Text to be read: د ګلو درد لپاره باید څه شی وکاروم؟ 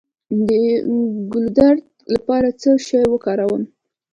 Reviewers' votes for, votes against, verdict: 2, 1, accepted